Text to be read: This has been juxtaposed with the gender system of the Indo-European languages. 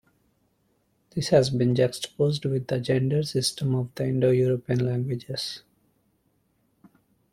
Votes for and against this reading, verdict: 2, 0, accepted